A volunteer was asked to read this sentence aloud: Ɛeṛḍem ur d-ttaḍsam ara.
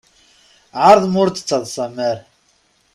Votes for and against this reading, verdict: 2, 0, accepted